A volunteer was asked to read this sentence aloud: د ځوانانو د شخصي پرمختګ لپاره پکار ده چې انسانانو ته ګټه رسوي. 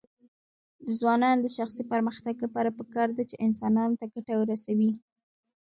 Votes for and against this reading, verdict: 2, 0, accepted